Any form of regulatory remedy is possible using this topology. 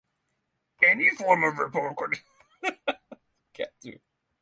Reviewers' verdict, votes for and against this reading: rejected, 0, 6